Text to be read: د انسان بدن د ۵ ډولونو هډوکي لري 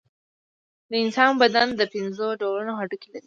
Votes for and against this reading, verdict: 0, 2, rejected